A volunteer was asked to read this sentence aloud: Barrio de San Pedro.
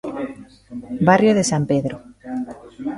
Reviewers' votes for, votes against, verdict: 0, 2, rejected